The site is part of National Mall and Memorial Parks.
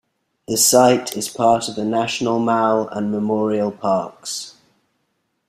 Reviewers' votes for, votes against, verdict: 1, 2, rejected